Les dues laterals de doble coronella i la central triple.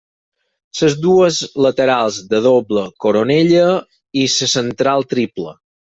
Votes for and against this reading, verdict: 0, 4, rejected